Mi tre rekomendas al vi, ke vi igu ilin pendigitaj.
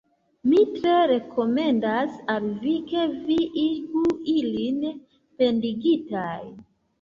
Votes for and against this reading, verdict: 1, 3, rejected